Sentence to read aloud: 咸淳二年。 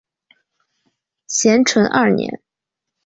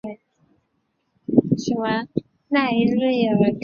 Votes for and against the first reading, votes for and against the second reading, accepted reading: 2, 0, 1, 3, first